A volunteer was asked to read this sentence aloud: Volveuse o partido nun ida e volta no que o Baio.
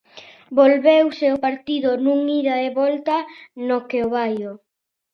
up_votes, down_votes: 2, 0